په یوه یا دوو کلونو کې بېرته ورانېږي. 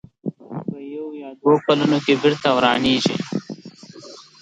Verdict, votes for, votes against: rejected, 1, 2